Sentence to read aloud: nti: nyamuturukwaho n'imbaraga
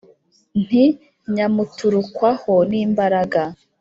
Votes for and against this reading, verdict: 2, 1, accepted